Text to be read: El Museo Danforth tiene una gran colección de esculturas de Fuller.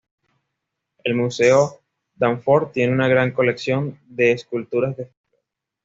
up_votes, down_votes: 1, 2